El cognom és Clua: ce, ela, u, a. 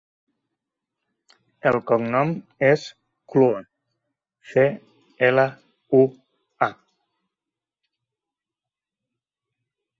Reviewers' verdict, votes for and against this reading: rejected, 2, 3